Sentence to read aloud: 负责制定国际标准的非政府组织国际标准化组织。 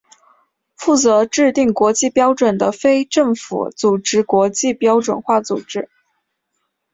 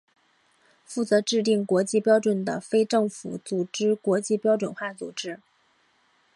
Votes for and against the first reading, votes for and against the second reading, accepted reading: 2, 0, 0, 2, first